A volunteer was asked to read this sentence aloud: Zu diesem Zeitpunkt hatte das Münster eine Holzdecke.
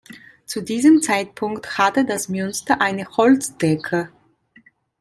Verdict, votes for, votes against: accepted, 2, 0